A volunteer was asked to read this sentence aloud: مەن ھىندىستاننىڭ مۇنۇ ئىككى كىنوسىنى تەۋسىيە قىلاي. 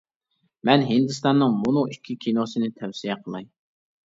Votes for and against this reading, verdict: 2, 0, accepted